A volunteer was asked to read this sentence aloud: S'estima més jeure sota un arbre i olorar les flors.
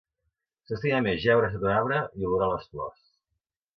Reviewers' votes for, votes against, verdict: 2, 3, rejected